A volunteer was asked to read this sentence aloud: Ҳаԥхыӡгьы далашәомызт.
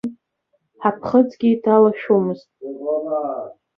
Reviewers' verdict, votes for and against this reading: rejected, 0, 3